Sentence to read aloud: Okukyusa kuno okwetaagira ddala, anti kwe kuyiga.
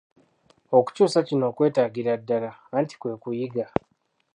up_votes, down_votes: 0, 2